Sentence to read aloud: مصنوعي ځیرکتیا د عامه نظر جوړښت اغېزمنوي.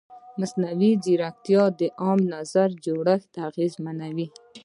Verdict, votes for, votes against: rejected, 1, 2